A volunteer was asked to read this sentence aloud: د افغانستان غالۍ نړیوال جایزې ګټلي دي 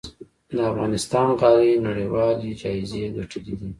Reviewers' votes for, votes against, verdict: 1, 2, rejected